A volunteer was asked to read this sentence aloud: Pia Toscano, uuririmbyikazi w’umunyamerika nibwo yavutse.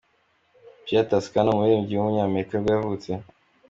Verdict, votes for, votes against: accepted, 2, 0